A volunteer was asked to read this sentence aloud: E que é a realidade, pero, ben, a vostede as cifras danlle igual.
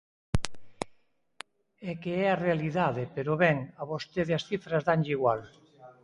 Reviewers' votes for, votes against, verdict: 4, 0, accepted